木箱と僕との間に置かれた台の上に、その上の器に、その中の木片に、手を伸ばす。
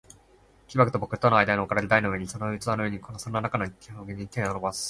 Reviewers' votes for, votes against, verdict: 2, 3, rejected